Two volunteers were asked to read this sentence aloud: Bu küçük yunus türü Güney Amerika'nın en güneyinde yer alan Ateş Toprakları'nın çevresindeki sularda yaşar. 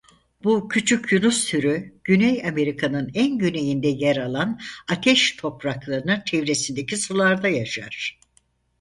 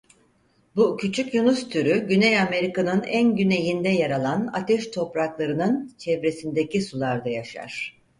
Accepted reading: second